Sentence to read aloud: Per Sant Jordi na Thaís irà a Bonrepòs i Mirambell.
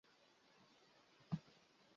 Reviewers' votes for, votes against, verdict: 0, 2, rejected